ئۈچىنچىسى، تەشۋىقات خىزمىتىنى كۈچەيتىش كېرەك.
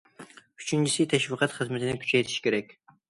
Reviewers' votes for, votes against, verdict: 2, 0, accepted